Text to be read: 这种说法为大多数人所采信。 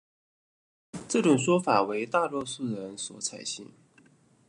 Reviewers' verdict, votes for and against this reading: accepted, 2, 0